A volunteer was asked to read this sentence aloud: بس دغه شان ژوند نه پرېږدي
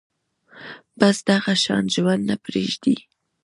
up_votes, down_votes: 0, 2